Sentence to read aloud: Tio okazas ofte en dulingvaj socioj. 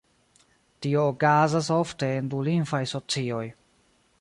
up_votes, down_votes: 0, 2